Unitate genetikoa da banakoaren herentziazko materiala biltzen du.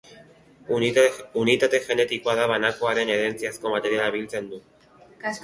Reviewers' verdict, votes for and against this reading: rejected, 1, 2